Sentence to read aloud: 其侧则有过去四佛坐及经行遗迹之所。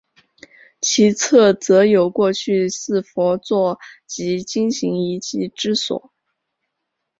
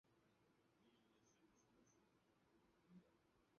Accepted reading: first